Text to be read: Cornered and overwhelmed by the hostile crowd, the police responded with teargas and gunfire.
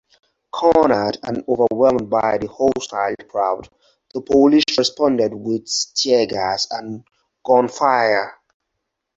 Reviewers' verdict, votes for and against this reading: rejected, 0, 4